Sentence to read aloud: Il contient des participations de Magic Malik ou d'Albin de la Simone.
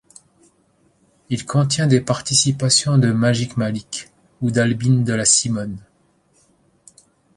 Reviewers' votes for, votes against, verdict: 1, 2, rejected